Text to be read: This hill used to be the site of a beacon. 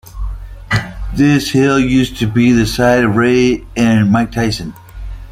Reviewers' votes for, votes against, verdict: 0, 2, rejected